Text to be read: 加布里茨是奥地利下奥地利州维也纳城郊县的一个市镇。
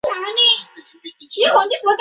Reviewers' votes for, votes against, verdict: 1, 2, rejected